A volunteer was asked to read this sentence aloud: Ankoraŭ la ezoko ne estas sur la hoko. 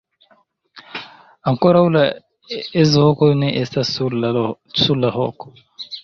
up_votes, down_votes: 1, 2